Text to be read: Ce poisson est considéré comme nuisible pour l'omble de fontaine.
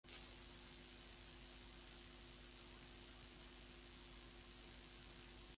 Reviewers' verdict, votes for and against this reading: rejected, 0, 2